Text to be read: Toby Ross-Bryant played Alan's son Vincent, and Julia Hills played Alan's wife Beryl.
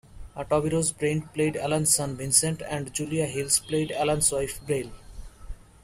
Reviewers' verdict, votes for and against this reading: rejected, 0, 2